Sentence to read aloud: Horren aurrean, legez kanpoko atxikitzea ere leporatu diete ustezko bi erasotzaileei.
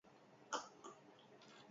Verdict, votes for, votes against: rejected, 0, 4